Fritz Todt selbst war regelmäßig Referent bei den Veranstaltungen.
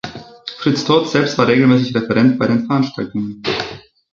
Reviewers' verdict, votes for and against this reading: accepted, 2, 0